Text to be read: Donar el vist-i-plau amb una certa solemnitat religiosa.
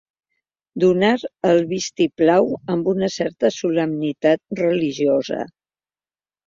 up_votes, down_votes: 2, 0